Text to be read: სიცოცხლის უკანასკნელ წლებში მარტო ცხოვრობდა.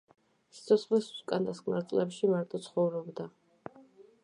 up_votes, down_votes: 1, 2